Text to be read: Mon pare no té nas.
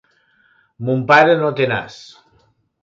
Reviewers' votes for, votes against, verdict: 2, 0, accepted